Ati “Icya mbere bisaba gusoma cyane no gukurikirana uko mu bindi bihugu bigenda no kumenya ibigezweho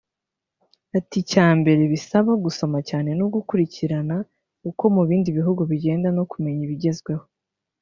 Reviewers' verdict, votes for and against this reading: rejected, 0, 2